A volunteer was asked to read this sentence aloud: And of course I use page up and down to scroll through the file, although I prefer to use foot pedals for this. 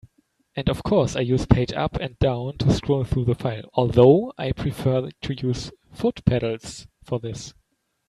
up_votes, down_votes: 2, 0